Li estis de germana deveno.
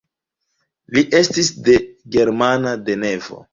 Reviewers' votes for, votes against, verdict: 0, 2, rejected